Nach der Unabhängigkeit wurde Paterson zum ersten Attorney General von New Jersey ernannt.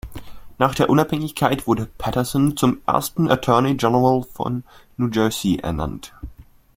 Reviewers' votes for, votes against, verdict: 2, 0, accepted